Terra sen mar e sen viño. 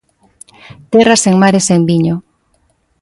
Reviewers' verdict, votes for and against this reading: accepted, 2, 0